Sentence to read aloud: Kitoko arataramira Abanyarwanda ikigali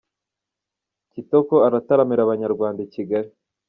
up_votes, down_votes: 2, 0